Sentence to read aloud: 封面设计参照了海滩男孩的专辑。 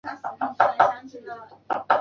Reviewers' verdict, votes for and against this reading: rejected, 0, 2